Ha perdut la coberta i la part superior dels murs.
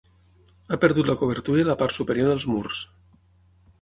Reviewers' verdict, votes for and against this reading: accepted, 6, 0